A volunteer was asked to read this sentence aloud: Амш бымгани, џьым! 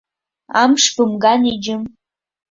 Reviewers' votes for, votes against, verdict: 1, 2, rejected